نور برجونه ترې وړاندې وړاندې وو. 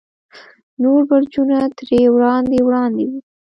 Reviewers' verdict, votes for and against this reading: rejected, 1, 2